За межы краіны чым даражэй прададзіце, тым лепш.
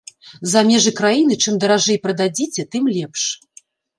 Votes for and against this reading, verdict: 2, 0, accepted